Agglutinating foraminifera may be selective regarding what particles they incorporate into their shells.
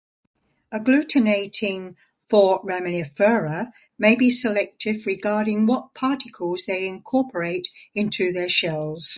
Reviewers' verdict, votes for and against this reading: accepted, 2, 1